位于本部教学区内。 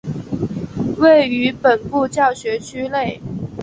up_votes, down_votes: 3, 0